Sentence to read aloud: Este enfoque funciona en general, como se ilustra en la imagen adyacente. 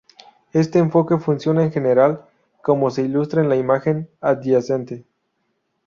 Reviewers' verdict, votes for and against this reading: rejected, 0, 2